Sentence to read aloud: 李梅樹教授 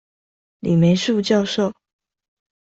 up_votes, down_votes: 2, 0